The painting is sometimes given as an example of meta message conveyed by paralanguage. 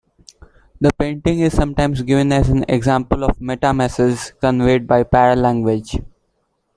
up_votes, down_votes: 2, 1